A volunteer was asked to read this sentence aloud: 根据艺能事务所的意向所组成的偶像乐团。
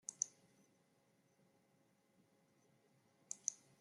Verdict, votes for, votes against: rejected, 0, 2